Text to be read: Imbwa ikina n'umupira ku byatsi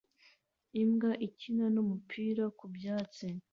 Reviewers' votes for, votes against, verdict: 2, 0, accepted